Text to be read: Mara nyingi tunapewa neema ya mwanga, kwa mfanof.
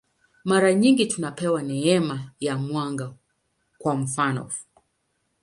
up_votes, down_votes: 9, 0